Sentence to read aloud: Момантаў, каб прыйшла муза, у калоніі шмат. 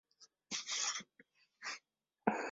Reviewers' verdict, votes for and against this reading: rejected, 0, 2